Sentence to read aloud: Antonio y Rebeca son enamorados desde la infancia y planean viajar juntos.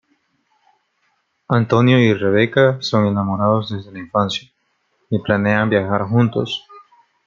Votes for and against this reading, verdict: 2, 0, accepted